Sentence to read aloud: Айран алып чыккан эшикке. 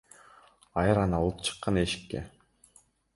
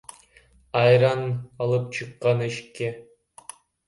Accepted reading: first